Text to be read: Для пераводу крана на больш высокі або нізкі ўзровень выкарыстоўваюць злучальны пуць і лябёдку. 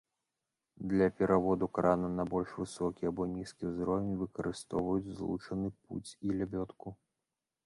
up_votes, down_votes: 0, 2